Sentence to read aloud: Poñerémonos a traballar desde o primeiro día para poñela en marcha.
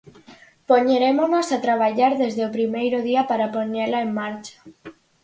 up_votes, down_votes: 4, 0